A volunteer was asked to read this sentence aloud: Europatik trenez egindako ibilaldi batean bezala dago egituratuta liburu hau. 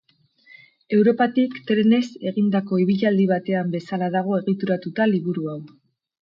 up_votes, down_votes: 2, 2